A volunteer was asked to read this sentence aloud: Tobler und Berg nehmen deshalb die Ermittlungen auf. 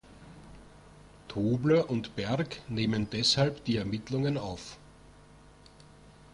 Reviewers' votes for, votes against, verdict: 2, 0, accepted